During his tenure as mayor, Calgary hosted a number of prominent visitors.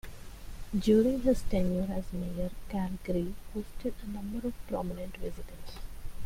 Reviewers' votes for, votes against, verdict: 2, 1, accepted